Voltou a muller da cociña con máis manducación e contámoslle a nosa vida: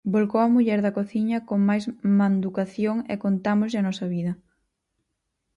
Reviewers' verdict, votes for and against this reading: rejected, 2, 2